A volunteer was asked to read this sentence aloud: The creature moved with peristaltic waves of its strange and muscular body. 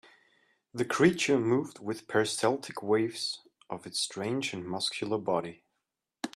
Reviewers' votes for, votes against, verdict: 2, 0, accepted